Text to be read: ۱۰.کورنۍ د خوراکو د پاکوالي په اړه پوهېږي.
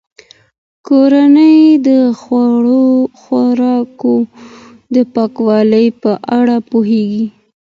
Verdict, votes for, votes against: rejected, 0, 2